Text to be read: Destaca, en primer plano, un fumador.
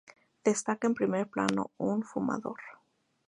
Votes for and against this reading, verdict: 0, 2, rejected